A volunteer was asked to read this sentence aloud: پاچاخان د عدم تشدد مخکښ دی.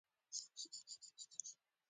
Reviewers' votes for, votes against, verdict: 0, 2, rejected